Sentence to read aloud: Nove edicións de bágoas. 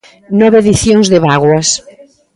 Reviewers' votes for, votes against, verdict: 2, 1, accepted